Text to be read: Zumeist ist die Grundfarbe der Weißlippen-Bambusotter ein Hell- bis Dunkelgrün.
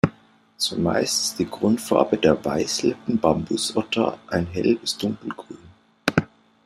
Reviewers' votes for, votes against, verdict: 2, 0, accepted